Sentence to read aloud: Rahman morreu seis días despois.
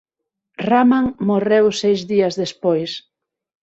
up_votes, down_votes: 9, 0